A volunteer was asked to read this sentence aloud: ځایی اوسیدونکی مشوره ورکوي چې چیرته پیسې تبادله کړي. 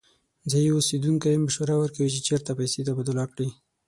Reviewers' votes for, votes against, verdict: 6, 0, accepted